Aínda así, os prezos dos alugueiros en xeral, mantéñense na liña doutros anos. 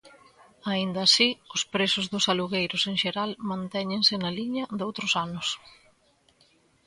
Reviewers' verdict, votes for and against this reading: accepted, 2, 0